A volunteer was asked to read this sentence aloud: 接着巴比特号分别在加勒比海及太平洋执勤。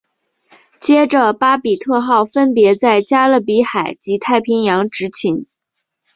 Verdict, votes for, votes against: accepted, 6, 0